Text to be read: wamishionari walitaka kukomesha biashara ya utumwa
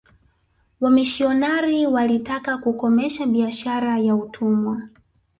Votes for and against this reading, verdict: 1, 2, rejected